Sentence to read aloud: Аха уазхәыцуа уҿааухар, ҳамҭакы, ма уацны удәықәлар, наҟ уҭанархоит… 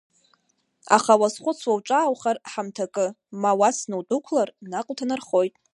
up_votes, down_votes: 1, 2